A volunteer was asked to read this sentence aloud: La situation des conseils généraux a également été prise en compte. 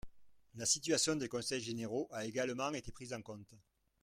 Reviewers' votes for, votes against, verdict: 2, 1, accepted